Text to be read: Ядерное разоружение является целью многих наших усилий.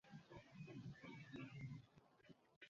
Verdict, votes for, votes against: rejected, 0, 2